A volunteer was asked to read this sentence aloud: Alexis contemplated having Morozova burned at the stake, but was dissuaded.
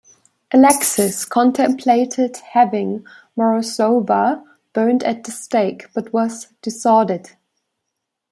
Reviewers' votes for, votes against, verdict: 0, 2, rejected